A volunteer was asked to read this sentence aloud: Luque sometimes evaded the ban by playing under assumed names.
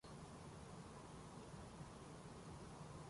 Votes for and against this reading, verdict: 0, 2, rejected